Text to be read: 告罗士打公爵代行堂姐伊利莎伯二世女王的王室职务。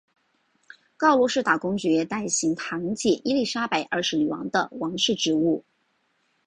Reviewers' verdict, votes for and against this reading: accepted, 4, 2